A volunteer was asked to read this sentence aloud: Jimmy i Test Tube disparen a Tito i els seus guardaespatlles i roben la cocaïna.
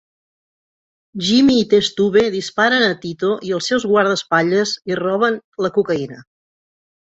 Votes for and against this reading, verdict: 3, 0, accepted